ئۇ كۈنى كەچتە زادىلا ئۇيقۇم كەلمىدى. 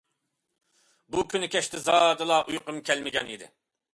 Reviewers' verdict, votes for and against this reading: rejected, 0, 2